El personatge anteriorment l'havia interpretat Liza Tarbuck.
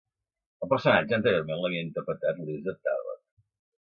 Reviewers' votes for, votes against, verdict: 2, 0, accepted